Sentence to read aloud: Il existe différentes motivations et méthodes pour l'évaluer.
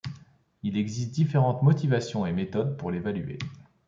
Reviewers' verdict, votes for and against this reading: accepted, 2, 0